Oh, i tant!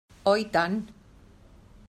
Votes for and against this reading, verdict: 2, 0, accepted